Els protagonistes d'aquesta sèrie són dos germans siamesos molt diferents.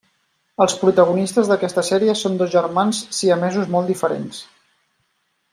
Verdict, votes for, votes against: accepted, 3, 0